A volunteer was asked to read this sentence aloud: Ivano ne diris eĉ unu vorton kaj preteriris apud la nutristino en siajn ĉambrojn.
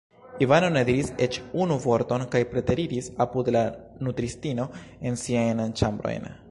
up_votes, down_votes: 2, 0